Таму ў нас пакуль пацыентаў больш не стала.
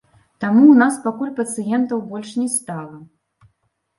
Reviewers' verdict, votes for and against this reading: rejected, 1, 2